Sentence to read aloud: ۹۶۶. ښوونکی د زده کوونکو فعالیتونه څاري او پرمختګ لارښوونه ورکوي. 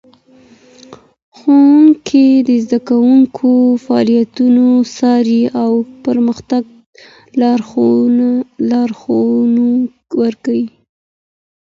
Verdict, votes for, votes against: rejected, 0, 2